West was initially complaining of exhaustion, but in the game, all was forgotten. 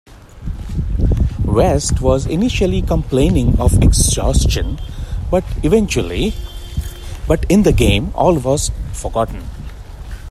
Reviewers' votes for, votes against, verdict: 0, 2, rejected